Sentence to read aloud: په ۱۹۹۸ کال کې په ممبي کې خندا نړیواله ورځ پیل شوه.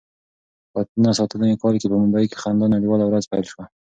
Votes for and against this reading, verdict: 0, 2, rejected